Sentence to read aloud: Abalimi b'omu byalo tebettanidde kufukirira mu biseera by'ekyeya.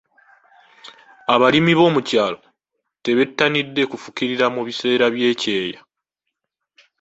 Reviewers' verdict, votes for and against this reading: rejected, 1, 2